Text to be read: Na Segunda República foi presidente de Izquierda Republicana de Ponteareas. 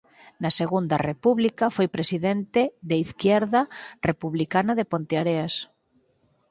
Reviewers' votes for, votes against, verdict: 4, 2, accepted